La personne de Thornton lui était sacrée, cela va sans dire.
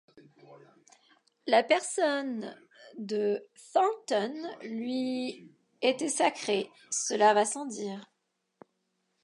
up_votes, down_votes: 1, 2